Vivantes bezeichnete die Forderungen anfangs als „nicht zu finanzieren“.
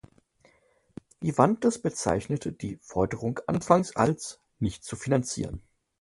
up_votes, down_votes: 0, 2